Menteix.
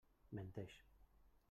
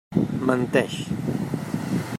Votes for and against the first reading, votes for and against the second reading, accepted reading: 1, 2, 3, 0, second